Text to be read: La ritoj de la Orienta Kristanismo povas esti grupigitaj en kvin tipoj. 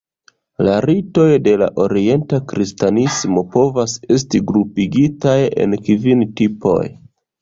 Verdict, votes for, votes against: accepted, 2, 0